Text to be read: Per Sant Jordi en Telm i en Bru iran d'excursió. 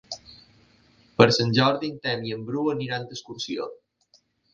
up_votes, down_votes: 1, 2